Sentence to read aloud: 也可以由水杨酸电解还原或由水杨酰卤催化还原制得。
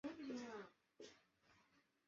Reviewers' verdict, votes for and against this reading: rejected, 0, 3